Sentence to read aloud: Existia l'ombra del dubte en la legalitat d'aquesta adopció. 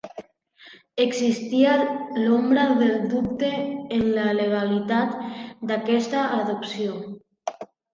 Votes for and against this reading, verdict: 2, 0, accepted